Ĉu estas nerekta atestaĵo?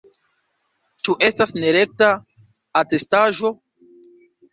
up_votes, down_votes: 3, 0